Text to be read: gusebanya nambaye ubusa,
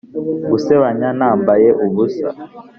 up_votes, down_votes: 5, 0